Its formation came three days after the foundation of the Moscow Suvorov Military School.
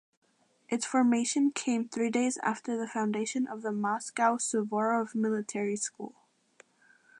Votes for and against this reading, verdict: 2, 0, accepted